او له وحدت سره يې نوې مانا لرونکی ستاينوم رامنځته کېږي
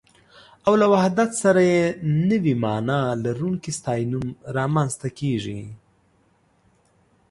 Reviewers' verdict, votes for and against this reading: accepted, 2, 0